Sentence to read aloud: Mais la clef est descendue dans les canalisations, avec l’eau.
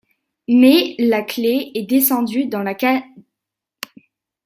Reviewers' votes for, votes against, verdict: 0, 2, rejected